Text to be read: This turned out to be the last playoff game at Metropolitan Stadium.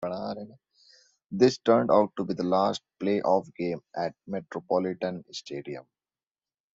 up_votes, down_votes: 1, 2